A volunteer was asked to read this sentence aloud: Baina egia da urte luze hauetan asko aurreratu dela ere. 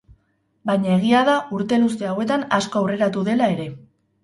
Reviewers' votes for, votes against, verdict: 6, 0, accepted